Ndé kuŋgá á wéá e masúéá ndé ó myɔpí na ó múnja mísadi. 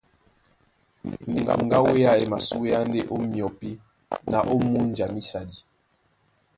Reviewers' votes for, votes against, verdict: 0, 2, rejected